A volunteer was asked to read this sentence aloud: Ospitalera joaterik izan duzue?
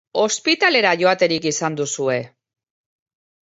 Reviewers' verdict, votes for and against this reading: accepted, 2, 0